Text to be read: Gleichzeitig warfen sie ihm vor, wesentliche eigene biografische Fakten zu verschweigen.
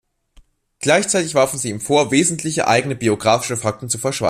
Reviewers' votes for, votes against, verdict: 0, 2, rejected